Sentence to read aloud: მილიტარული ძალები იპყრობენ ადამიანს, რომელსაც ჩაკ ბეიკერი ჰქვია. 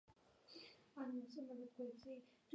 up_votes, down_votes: 0, 2